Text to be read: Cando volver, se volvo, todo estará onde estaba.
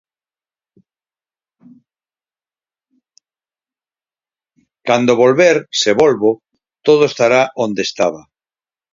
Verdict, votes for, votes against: accepted, 4, 2